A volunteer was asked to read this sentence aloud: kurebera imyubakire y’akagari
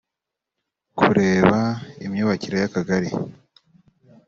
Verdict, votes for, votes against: rejected, 1, 2